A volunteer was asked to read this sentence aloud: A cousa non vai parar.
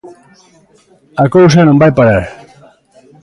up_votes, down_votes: 2, 0